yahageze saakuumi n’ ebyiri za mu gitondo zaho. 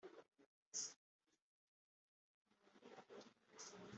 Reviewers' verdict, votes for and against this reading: rejected, 1, 2